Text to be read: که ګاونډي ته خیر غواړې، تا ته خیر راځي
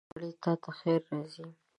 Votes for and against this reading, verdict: 1, 2, rejected